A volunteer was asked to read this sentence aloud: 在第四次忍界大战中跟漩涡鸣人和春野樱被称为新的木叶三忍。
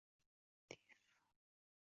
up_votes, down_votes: 1, 4